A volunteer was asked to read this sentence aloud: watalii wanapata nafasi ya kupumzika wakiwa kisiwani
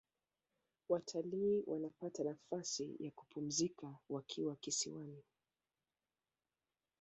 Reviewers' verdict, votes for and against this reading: rejected, 1, 2